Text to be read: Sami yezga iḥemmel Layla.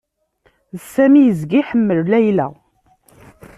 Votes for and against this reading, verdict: 2, 0, accepted